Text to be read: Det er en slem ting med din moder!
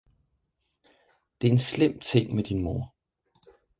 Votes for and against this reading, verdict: 2, 4, rejected